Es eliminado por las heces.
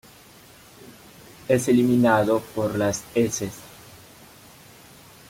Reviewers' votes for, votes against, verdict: 1, 2, rejected